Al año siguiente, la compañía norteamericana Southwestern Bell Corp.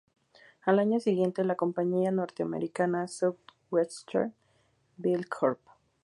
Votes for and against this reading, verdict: 2, 0, accepted